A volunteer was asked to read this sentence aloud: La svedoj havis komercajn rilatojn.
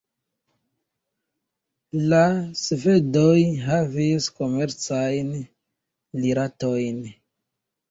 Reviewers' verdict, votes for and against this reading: accepted, 2, 0